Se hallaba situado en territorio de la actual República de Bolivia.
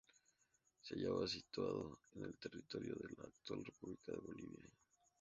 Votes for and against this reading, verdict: 0, 2, rejected